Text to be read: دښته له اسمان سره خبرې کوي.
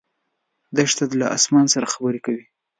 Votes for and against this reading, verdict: 2, 0, accepted